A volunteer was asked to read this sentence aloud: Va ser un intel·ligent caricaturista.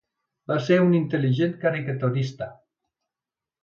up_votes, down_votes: 2, 0